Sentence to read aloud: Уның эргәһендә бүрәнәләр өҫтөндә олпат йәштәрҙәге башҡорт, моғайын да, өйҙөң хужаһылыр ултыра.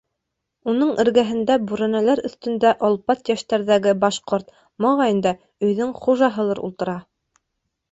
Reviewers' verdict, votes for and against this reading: rejected, 0, 2